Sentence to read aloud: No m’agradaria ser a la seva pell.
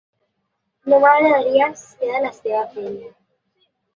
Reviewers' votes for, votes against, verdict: 1, 2, rejected